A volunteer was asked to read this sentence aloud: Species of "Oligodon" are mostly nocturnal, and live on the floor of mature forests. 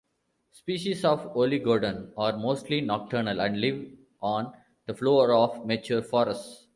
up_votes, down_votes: 2, 0